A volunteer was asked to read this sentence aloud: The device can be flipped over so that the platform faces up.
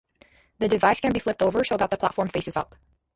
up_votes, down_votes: 2, 0